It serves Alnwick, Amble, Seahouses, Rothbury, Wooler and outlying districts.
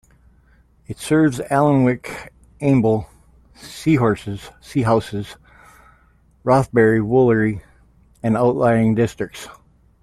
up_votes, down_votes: 0, 3